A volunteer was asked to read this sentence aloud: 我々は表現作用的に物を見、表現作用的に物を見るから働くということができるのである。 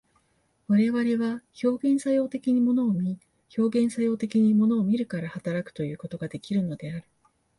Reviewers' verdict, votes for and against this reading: accepted, 40, 2